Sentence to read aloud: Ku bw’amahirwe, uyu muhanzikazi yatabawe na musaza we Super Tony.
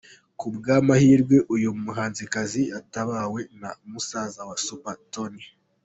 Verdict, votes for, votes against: accepted, 2, 1